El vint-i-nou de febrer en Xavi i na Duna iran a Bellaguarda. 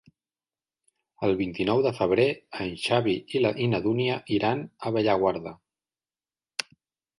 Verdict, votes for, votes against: rejected, 0, 2